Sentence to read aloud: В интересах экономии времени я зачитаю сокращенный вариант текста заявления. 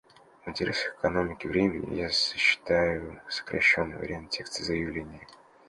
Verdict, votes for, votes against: rejected, 0, 2